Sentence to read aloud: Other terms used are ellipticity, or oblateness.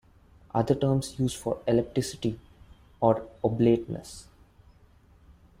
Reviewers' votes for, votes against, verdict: 1, 2, rejected